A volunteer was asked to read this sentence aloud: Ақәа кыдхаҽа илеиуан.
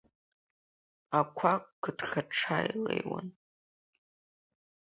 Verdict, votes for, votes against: rejected, 2, 3